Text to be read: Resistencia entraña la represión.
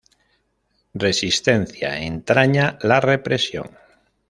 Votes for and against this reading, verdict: 2, 0, accepted